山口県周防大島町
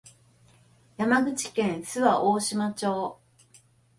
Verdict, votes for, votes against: accepted, 2, 0